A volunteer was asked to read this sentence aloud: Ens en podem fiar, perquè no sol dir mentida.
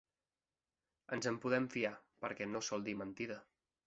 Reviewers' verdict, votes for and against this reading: accepted, 2, 0